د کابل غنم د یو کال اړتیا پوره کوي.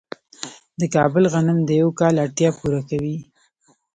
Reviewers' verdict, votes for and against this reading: accepted, 2, 0